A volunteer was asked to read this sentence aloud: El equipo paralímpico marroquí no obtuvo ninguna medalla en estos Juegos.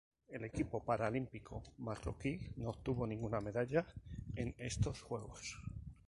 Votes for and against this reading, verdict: 2, 0, accepted